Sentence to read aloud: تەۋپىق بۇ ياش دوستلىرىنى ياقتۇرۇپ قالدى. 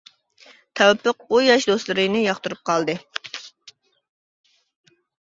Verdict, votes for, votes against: accepted, 2, 0